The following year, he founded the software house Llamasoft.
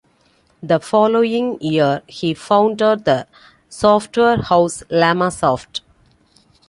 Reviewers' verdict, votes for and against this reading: accepted, 2, 0